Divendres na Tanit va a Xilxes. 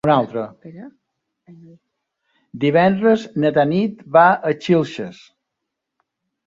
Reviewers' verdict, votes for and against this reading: rejected, 0, 3